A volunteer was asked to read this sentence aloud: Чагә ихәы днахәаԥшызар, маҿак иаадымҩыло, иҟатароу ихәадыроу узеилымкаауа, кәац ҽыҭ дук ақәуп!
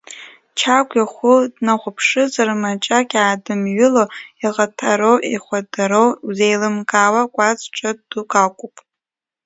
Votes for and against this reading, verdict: 2, 1, accepted